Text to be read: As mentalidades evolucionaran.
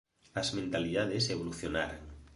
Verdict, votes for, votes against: accepted, 2, 0